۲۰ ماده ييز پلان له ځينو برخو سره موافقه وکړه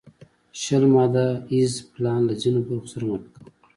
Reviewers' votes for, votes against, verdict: 0, 2, rejected